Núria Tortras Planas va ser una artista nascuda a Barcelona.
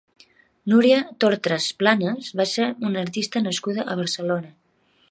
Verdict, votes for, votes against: accepted, 2, 0